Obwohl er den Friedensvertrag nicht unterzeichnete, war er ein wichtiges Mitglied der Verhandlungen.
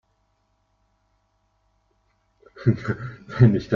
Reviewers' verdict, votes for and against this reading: rejected, 0, 2